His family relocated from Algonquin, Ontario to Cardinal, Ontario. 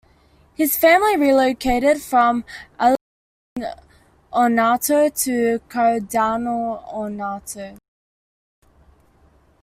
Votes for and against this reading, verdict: 1, 2, rejected